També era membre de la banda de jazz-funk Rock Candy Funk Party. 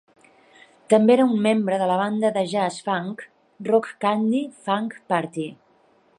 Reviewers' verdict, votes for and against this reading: rejected, 0, 2